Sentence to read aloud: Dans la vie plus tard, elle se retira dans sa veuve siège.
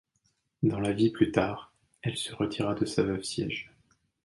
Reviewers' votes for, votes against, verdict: 1, 2, rejected